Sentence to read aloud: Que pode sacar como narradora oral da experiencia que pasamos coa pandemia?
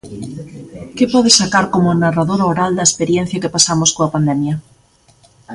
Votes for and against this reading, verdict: 1, 2, rejected